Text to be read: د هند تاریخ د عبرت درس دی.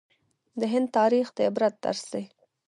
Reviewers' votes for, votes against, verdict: 0, 2, rejected